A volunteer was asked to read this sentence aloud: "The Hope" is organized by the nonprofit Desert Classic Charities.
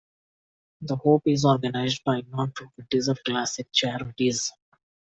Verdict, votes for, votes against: accepted, 2, 1